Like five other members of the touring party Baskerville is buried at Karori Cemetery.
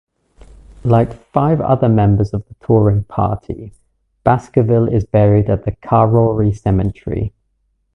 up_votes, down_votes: 0, 2